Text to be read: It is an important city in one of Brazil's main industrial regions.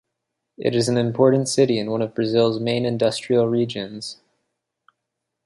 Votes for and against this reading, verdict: 3, 0, accepted